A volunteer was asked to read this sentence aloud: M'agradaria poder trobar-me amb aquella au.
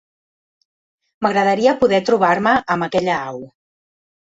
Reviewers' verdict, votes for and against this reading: accepted, 2, 0